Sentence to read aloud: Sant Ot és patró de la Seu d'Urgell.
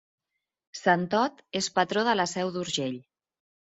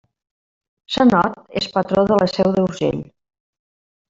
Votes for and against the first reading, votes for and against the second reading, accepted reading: 2, 0, 0, 2, first